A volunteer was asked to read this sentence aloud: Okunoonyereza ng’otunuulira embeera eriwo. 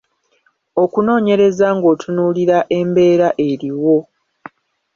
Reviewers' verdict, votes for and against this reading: accepted, 2, 0